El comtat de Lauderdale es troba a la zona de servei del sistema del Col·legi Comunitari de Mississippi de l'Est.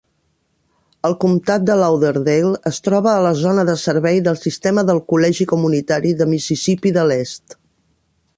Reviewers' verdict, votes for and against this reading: accepted, 3, 0